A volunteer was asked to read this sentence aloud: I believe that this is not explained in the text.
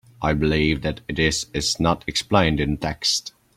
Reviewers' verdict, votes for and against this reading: rejected, 0, 2